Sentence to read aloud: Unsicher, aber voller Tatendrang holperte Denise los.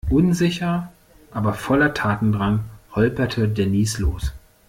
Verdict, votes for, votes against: accepted, 2, 0